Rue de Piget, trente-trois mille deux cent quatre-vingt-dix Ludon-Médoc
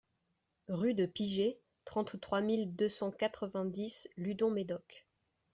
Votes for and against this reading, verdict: 2, 0, accepted